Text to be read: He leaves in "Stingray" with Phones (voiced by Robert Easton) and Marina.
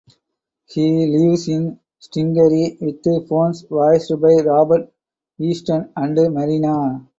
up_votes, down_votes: 2, 2